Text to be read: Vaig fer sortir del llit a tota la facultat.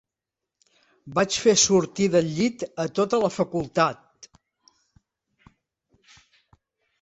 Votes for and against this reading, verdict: 2, 0, accepted